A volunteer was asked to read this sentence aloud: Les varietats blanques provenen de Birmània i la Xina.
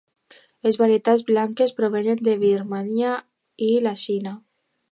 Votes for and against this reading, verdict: 2, 0, accepted